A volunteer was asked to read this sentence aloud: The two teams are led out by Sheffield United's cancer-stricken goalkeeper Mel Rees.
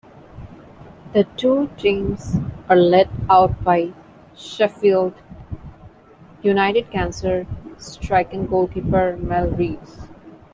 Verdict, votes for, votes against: accepted, 2, 0